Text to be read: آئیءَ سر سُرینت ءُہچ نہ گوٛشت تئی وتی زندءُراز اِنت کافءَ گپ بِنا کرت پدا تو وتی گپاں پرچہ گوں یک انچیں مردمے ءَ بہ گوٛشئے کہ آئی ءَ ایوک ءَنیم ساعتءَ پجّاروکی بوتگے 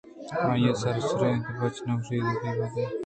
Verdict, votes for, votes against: accepted, 2, 0